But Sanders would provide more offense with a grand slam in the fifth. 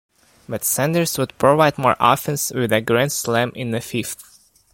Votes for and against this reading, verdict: 2, 0, accepted